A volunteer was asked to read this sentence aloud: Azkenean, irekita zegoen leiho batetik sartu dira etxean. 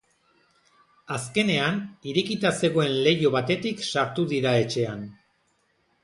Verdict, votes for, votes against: accepted, 2, 0